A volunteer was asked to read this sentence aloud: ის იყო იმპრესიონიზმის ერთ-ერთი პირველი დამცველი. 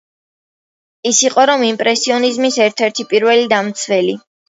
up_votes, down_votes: 0, 2